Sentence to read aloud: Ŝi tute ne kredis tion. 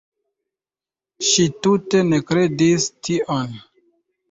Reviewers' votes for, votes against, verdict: 2, 1, accepted